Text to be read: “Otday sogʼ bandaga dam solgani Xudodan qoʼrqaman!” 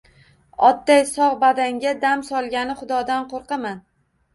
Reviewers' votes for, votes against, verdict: 2, 0, accepted